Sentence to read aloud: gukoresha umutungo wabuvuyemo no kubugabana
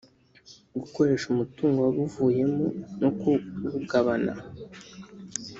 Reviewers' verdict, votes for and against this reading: rejected, 1, 2